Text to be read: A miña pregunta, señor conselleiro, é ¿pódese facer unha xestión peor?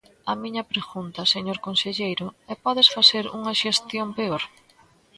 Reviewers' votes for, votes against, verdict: 2, 0, accepted